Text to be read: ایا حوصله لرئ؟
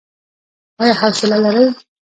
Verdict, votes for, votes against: rejected, 0, 2